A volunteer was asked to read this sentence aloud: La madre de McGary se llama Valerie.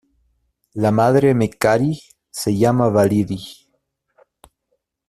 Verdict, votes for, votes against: rejected, 0, 2